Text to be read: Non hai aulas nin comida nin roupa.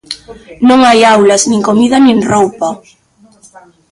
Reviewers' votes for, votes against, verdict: 0, 2, rejected